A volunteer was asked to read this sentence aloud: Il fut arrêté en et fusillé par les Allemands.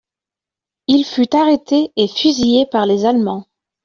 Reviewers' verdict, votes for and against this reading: rejected, 1, 2